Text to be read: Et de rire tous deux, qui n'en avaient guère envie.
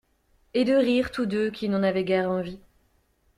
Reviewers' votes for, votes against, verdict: 2, 0, accepted